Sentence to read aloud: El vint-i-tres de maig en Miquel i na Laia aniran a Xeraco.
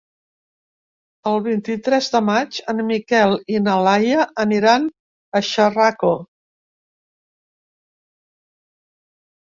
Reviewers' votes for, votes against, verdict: 0, 2, rejected